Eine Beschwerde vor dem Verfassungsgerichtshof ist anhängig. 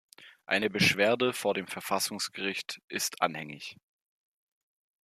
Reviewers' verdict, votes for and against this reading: rejected, 0, 2